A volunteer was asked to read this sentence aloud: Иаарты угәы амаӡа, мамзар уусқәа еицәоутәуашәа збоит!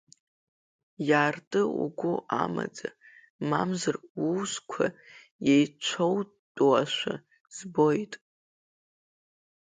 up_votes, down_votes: 0, 2